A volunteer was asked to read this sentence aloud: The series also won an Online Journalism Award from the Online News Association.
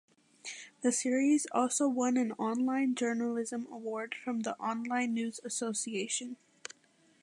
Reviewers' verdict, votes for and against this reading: accepted, 2, 0